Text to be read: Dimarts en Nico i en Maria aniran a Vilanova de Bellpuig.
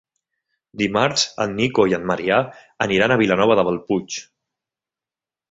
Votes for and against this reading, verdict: 1, 2, rejected